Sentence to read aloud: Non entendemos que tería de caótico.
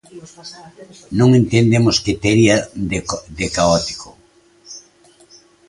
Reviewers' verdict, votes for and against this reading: rejected, 0, 2